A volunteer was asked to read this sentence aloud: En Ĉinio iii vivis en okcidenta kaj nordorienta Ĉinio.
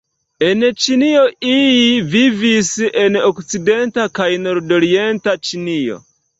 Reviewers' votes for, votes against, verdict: 2, 0, accepted